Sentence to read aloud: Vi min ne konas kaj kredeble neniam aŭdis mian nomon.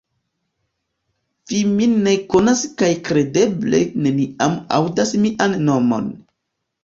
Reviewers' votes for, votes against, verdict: 1, 2, rejected